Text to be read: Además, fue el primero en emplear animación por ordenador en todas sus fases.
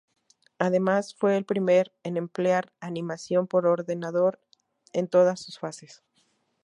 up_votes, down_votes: 0, 2